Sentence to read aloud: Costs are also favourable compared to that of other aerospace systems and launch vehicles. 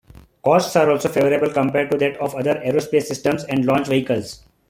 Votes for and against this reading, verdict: 2, 0, accepted